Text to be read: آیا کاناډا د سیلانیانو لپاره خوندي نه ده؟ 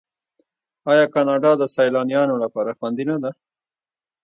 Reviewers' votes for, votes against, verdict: 1, 2, rejected